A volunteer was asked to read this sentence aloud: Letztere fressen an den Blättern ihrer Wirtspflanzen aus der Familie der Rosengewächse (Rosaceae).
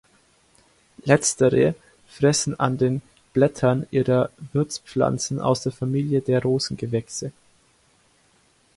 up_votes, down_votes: 1, 2